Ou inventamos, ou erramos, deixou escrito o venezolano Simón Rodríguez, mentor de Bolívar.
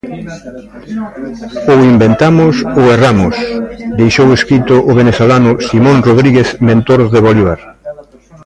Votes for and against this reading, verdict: 2, 1, accepted